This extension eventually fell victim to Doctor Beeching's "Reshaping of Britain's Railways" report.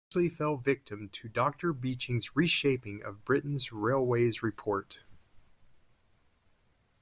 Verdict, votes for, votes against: rejected, 0, 2